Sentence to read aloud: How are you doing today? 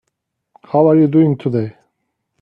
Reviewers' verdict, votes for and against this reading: accepted, 2, 1